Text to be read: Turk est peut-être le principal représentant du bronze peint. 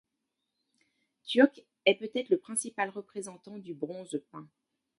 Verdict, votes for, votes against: accepted, 2, 0